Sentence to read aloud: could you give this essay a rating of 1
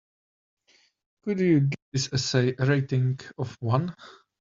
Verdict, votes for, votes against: rejected, 0, 2